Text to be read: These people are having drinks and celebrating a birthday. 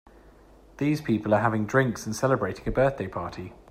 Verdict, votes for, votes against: rejected, 0, 3